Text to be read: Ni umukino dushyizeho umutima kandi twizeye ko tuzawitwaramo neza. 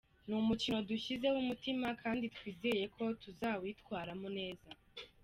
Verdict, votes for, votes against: accepted, 2, 1